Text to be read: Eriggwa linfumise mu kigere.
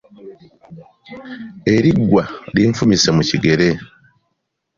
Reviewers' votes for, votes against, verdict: 2, 0, accepted